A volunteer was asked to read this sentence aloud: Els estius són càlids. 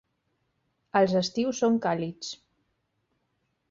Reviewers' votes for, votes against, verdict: 2, 0, accepted